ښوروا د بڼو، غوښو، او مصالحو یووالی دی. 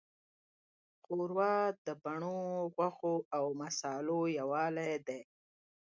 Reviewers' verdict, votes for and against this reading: rejected, 0, 2